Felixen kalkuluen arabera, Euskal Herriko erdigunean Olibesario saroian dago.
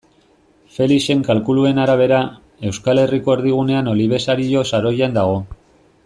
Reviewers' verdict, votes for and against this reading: accepted, 2, 0